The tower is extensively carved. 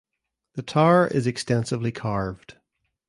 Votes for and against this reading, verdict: 2, 0, accepted